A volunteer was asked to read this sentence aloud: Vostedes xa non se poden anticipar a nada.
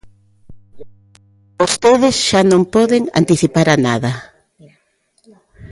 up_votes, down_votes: 0, 2